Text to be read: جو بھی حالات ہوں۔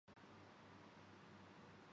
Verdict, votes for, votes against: rejected, 1, 5